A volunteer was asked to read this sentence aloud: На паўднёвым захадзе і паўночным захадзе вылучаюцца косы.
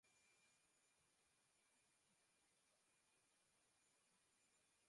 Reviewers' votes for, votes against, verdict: 0, 2, rejected